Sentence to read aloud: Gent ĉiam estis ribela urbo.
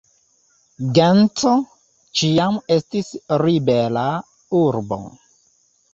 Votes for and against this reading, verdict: 1, 2, rejected